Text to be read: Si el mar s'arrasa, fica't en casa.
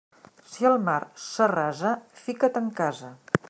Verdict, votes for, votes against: accepted, 3, 0